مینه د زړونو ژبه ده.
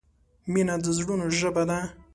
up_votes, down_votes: 2, 1